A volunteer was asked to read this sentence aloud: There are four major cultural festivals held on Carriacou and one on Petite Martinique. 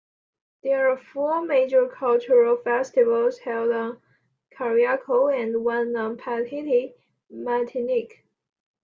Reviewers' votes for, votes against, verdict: 2, 1, accepted